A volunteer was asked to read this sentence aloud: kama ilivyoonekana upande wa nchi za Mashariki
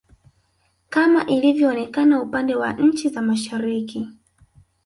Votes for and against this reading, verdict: 1, 2, rejected